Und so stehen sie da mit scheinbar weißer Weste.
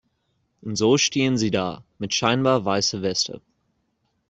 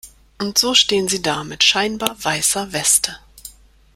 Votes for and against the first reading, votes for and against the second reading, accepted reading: 0, 2, 2, 0, second